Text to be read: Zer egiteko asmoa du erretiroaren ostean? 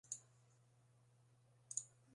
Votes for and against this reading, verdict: 0, 3, rejected